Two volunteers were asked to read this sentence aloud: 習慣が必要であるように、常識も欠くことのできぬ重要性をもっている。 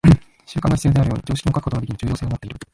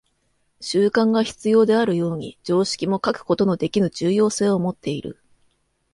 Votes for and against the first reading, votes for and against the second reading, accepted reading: 1, 2, 2, 1, second